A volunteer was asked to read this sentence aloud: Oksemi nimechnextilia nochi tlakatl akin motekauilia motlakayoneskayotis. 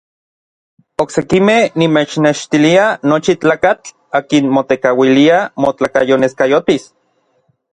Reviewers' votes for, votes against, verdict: 1, 2, rejected